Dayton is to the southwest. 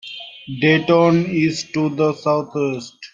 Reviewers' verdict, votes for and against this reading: rejected, 1, 2